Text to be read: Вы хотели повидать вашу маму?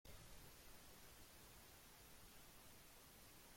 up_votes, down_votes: 0, 2